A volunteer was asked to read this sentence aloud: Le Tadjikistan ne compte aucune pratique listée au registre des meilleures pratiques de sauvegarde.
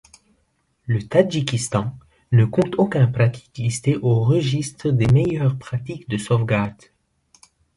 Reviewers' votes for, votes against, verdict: 1, 2, rejected